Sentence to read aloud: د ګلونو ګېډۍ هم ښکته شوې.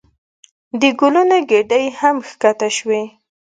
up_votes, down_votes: 2, 0